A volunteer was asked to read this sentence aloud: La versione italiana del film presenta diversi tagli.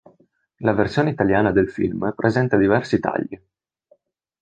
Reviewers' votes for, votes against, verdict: 2, 0, accepted